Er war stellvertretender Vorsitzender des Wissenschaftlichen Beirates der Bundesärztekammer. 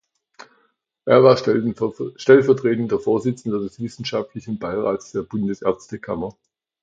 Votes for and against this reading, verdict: 0, 2, rejected